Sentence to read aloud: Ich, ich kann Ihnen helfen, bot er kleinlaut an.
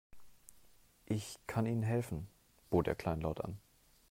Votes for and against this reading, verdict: 1, 2, rejected